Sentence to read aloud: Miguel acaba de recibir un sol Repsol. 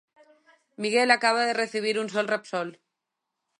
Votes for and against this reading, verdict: 2, 0, accepted